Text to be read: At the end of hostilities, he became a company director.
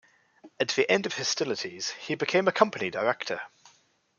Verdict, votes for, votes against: rejected, 0, 2